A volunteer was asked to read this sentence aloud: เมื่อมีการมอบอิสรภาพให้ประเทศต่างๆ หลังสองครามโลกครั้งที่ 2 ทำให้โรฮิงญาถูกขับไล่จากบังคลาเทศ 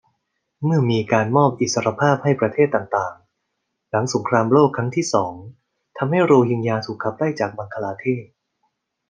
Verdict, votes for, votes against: rejected, 0, 2